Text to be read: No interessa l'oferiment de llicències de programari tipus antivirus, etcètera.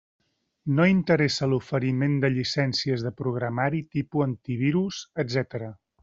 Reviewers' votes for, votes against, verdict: 1, 2, rejected